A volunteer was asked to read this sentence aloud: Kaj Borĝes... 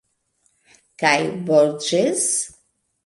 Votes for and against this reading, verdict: 1, 2, rejected